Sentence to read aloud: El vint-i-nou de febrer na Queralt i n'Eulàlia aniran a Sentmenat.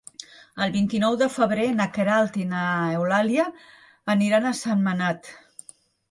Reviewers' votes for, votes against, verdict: 4, 1, accepted